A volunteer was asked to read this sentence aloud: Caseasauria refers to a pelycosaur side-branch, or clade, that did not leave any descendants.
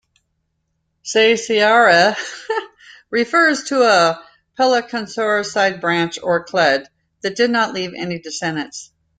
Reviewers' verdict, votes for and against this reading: rejected, 0, 2